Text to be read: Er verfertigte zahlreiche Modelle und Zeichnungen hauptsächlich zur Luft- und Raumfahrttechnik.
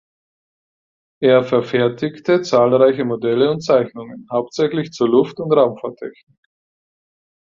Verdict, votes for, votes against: rejected, 2, 4